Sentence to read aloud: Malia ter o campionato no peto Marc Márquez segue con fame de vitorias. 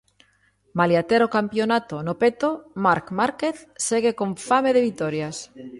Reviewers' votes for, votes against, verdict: 2, 0, accepted